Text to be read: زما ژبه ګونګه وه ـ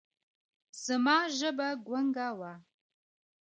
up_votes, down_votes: 1, 2